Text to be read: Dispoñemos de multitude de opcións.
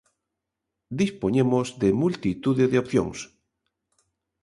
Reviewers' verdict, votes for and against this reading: accepted, 2, 0